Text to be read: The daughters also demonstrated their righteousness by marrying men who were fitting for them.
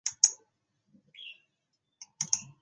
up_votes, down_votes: 0, 2